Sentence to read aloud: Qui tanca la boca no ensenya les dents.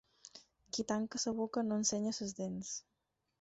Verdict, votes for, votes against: rejected, 0, 4